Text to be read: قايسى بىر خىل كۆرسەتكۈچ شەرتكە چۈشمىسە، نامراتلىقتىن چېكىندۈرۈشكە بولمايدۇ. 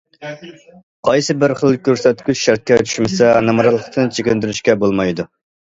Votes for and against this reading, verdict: 1, 2, rejected